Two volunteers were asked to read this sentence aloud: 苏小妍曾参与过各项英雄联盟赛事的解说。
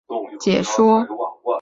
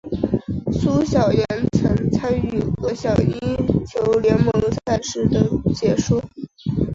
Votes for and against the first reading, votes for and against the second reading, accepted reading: 0, 2, 3, 0, second